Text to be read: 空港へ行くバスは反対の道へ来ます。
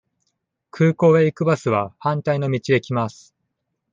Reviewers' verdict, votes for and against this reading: accepted, 2, 0